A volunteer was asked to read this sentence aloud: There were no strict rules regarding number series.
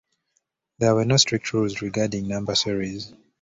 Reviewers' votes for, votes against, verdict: 2, 0, accepted